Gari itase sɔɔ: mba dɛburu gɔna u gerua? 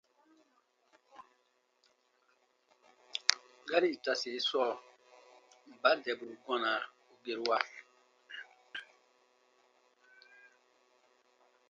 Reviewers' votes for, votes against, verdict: 2, 0, accepted